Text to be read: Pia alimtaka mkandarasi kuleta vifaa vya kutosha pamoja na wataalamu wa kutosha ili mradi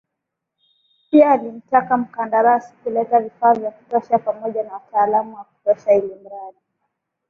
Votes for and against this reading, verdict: 16, 2, accepted